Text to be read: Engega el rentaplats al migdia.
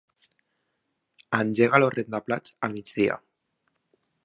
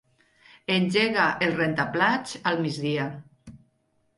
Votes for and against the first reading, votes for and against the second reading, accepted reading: 1, 2, 2, 0, second